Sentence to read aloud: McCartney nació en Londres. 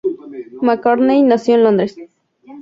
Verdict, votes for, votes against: rejected, 2, 2